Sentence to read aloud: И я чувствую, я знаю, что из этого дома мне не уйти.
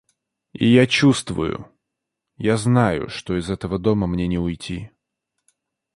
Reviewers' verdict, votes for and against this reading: accepted, 2, 0